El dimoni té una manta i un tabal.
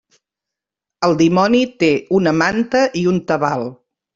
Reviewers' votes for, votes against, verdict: 2, 0, accepted